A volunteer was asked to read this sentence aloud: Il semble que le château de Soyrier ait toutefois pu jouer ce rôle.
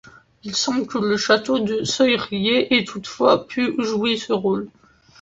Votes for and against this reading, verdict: 2, 0, accepted